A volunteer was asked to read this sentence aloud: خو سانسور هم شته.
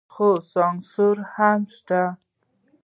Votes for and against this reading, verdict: 0, 2, rejected